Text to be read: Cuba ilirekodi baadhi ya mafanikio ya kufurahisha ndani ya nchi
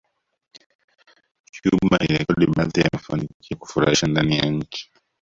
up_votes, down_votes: 0, 2